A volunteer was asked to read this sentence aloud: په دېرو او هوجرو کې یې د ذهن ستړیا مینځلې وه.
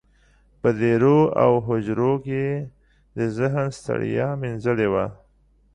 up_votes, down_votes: 2, 0